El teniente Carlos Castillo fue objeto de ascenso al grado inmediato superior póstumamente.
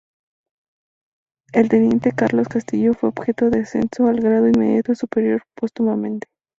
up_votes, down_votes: 2, 0